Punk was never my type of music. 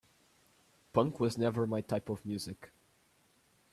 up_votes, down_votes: 2, 1